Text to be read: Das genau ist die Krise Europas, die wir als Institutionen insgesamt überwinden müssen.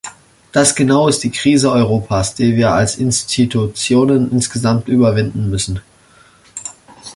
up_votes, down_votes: 0, 2